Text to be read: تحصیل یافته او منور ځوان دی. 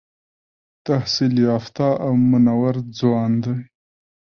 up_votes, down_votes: 2, 1